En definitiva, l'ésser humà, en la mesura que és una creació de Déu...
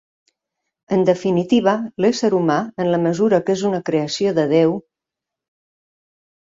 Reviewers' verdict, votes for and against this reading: accepted, 4, 0